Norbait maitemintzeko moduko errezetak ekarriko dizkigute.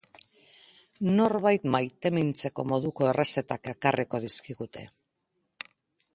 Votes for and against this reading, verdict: 2, 0, accepted